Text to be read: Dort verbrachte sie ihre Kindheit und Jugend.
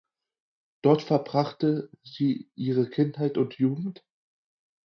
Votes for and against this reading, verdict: 4, 0, accepted